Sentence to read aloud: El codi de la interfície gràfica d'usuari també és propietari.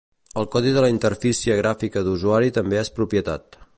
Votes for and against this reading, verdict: 0, 2, rejected